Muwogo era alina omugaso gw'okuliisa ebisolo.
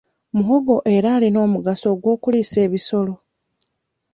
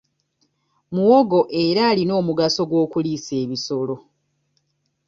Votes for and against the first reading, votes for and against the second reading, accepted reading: 1, 2, 2, 0, second